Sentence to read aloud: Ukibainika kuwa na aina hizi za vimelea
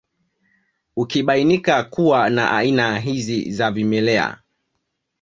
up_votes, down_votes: 2, 0